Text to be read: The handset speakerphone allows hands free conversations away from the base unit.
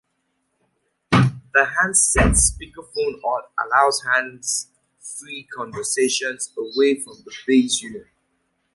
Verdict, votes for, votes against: rejected, 1, 2